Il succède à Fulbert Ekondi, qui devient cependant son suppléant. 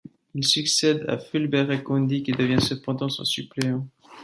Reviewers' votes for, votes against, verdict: 2, 0, accepted